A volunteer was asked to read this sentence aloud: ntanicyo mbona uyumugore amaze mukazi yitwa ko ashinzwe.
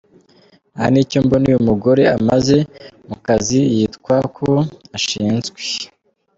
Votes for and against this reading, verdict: 2, 0, accepted